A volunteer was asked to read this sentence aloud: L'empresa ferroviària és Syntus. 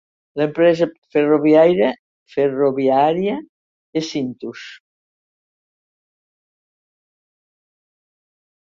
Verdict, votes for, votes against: rejected, 0, 2